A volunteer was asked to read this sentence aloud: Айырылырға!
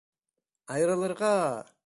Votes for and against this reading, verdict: 2, 0, accepted